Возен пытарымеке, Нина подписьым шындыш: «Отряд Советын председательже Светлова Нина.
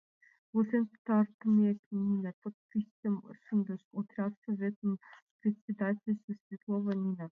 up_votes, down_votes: 0, 2